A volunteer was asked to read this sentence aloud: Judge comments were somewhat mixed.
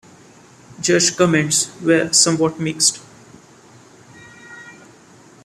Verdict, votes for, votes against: accepted, 2, 0